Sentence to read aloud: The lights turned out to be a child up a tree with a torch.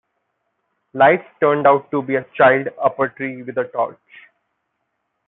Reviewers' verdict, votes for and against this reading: rejected, 0, 2